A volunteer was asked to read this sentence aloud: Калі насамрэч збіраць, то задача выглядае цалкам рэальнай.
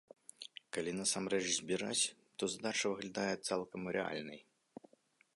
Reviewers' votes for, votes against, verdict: 2, 0, accepted